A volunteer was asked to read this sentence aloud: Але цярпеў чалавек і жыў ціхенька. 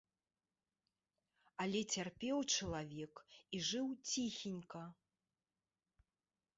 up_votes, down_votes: 2, 0